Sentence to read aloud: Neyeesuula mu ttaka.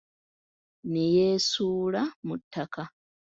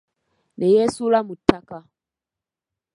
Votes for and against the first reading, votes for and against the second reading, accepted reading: 3, 0, 0, 2, first